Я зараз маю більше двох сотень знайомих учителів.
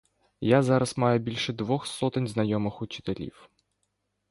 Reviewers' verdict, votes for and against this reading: accepted, 2, 0